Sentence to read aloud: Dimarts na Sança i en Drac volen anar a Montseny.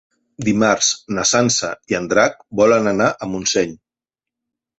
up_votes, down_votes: 3, 0